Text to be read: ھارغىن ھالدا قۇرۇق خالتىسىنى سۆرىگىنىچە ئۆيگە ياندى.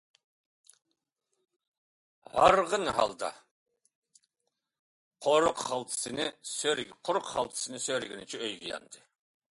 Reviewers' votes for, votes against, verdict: 1, 2, rejected